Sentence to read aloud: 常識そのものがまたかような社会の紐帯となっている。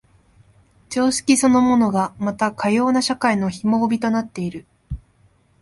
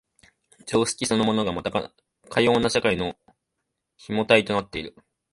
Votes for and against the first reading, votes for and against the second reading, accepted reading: 5, 0, 0, 2, first